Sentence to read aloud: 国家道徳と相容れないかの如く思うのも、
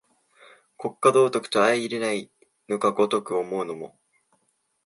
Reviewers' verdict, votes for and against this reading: rejected, 1, 2